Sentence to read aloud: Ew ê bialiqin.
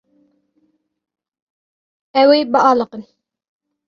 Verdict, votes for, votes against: accepted, 2, 0